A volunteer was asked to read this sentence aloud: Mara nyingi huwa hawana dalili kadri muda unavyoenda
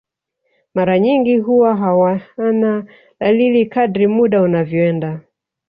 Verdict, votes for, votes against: accepted, 2, 0